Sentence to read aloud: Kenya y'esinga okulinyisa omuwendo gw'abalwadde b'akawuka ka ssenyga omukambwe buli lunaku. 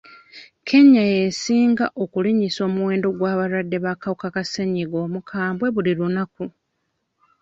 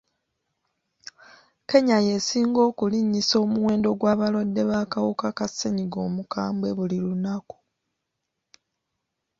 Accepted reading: second